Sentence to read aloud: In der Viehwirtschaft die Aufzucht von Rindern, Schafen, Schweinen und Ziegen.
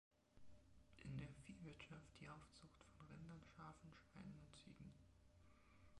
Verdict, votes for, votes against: rejected, 0, 2